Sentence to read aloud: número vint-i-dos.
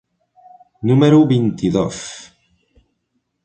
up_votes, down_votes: 3, 0